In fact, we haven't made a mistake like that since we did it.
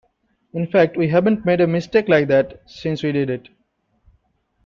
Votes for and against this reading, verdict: 2, 0, accepted